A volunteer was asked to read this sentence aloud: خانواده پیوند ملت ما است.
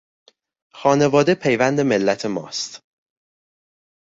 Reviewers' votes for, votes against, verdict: 1, 2, rejected